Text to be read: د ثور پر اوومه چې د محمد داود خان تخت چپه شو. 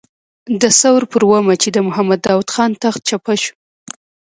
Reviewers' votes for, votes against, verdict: 0, 2, rejected